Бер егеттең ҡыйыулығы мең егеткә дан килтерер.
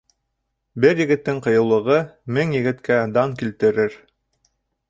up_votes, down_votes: 2, 0